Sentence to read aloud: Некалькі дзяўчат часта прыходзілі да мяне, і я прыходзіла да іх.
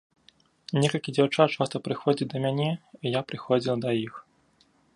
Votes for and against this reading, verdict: 1, 2, rejected